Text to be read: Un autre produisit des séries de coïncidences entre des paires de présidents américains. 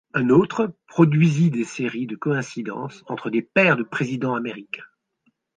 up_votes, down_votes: 2, 0